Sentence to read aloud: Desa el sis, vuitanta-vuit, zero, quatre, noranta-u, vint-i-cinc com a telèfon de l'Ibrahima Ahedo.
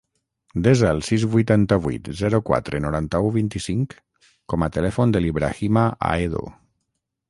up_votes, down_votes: 6, 0